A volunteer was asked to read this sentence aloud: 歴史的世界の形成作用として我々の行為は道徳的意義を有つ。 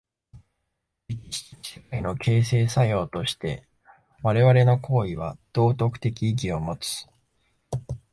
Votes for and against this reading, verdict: 1, 2, rejected